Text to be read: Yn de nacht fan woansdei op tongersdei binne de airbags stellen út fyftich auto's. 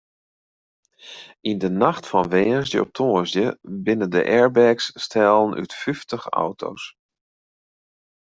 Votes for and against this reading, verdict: 2, 0, accepted